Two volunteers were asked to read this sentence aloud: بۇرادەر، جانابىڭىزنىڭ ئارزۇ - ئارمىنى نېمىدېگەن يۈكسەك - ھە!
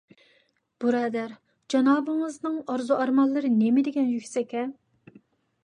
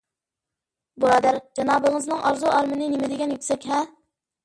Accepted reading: second